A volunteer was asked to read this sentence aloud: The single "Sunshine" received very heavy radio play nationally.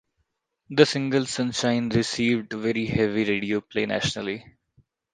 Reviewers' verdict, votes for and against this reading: accepted, 2, 0